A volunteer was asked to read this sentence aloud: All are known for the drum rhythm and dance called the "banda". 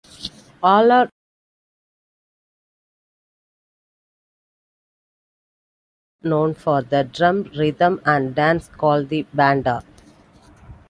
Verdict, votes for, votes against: rejected, 0, 2